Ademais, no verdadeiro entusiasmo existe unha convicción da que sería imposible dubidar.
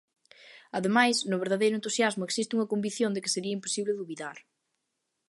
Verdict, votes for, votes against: accepted, 2, 0